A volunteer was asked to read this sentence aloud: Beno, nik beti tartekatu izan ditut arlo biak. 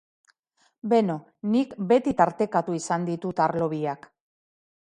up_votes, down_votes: 2, 0